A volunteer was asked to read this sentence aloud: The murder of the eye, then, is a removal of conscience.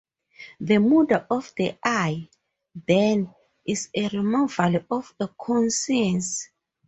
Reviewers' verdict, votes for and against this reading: rejected, 2, 2